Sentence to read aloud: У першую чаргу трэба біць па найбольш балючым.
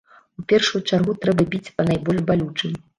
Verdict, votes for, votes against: rejected, 0, 2